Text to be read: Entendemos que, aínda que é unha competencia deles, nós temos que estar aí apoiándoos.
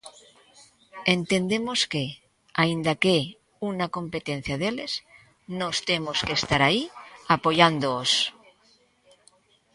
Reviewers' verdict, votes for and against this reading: rejected, 0, 2